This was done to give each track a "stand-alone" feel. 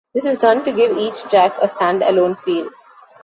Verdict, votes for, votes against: accepted, 3, 1